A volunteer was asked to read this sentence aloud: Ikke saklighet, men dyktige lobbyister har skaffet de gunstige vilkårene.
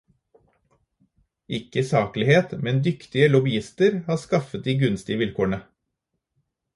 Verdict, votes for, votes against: accepted, 2, 0